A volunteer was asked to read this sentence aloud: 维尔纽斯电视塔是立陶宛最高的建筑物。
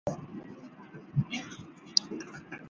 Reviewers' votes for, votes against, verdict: 0, 2, rejected